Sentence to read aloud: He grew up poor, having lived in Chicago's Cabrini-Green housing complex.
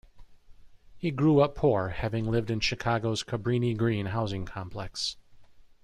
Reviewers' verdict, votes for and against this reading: accepted, 2, 0